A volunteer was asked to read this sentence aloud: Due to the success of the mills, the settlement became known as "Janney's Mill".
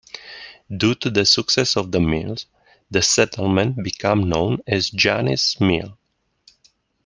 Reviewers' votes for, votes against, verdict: 1, 2, rejected